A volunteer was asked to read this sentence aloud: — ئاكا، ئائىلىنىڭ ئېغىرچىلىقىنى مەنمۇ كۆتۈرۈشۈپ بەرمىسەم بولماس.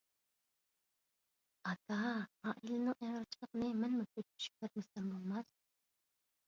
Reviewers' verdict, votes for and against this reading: rejected, 0, 2